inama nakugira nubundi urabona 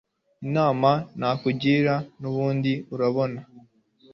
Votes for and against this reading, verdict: 2, 0, accepted